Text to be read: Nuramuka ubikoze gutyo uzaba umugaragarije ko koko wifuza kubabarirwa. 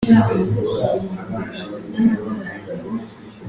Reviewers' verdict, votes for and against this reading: rejected, 0, 2